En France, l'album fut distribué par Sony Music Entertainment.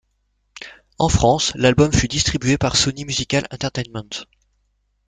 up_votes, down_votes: 1, 2